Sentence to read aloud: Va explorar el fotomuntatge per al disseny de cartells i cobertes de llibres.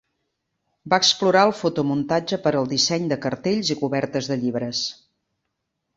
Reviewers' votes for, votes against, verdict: 3, 0, accepted